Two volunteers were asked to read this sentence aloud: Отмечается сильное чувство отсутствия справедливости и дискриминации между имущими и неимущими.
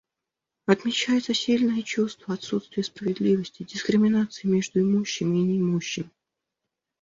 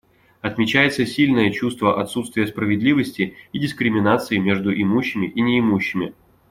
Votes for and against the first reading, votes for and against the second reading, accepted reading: 1, 2, 2, 0, second